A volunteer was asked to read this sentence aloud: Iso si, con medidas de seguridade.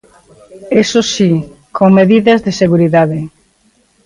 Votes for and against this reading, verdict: 1, 2, rejected